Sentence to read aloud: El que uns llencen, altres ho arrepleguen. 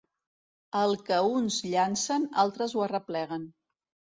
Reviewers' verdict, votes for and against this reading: rejected, 1, 2